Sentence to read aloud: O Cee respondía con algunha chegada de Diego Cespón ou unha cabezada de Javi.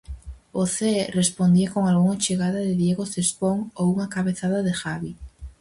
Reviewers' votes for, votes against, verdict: 0, 4, rejected